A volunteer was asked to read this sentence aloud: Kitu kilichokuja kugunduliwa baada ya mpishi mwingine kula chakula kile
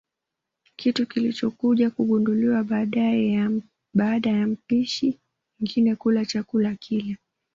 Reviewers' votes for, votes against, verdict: 1, 2, rejected